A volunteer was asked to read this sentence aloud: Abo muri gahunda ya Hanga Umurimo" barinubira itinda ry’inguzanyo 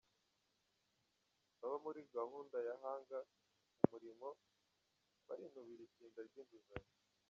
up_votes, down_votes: 0, 2